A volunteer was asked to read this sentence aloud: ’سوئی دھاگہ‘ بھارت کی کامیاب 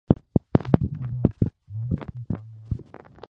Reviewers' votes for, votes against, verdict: 0, 2, rejected